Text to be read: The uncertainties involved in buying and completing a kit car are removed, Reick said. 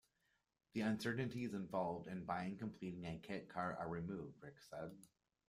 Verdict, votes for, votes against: accepted, 2, 1